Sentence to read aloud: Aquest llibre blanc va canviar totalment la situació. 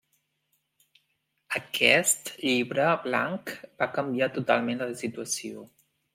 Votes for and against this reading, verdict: 3, 1, accepted